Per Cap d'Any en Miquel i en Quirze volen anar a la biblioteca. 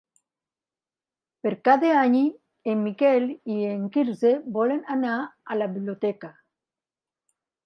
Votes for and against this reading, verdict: 0, 2, rejected